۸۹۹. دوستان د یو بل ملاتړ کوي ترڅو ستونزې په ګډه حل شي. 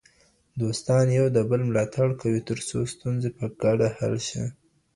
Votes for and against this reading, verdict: 0, 2, rejected